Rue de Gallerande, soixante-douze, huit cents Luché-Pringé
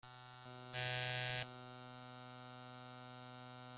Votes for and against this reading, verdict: 0, 2, rejected